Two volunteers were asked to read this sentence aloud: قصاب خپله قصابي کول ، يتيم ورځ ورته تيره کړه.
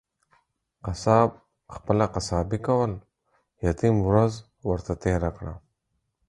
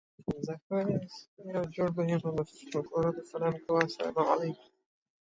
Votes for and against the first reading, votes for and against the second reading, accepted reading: 4, 0, 0, 2, first